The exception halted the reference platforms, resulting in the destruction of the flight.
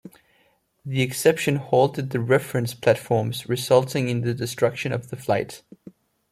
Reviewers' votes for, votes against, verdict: 2, 0, accepted